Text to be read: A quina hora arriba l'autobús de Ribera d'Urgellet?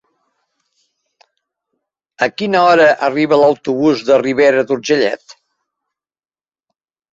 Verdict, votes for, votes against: accepted, 5, 1